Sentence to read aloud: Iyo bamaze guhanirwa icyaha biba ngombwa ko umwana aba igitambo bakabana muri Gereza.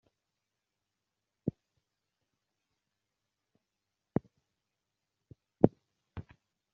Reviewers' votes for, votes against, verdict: 0, 2, rejected